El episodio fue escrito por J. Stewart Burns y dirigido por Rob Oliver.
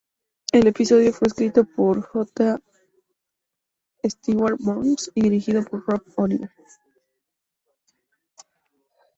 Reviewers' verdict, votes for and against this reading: rejected, 0, 2